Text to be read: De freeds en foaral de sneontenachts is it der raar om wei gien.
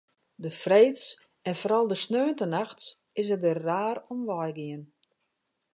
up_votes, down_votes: 2, 0